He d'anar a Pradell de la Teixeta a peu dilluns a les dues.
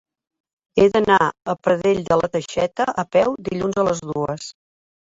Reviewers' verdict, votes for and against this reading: accepted, 3, 0